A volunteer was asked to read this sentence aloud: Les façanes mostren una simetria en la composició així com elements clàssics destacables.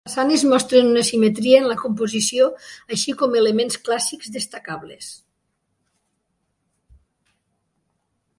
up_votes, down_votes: 0, 2